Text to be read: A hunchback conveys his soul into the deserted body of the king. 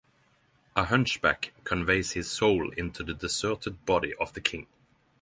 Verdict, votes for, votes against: accepted, 6, 0